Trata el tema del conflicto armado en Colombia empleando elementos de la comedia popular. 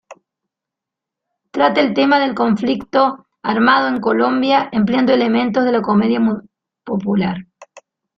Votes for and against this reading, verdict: 0, 3, rejected